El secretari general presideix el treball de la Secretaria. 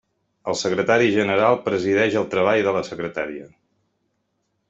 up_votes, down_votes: 0, 2